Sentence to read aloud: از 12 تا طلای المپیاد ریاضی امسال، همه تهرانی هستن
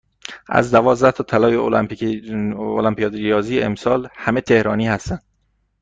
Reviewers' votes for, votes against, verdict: 0, 2, rejected